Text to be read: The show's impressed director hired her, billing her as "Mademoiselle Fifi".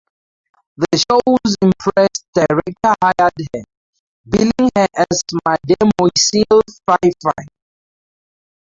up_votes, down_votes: 0, 4